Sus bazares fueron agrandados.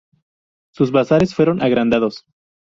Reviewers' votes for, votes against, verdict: 2, 0, accepted